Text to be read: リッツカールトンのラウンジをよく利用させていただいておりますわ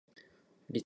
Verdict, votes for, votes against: rejected, 0, 2